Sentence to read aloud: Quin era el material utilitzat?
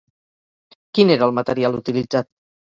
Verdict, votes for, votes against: accepted, 2, 0